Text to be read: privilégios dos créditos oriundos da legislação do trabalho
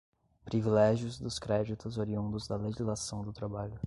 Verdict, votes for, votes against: rejected, 1, 2